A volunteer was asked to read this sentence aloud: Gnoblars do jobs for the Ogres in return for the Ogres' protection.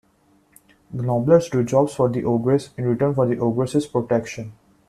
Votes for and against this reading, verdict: 0, 2, rejected